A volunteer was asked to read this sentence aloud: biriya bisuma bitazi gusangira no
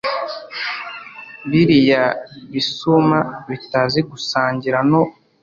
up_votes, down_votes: 2, 0